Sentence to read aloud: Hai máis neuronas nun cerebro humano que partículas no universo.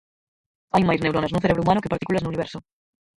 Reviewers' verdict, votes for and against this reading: rejected, 2, 4